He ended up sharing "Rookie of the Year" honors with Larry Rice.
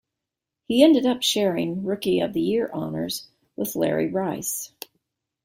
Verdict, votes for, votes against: accepted, 2, 0